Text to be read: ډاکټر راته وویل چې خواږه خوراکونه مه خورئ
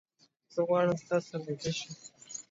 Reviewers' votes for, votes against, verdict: 0, 2, rejected